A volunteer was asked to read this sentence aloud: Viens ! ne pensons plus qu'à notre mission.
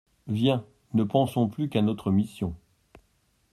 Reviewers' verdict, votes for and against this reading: accepted, 2, 0